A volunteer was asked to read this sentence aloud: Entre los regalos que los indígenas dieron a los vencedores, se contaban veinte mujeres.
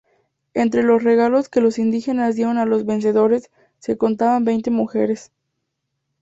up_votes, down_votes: 2, 0